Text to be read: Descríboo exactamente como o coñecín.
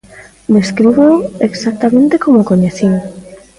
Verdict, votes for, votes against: accepted, 2, 0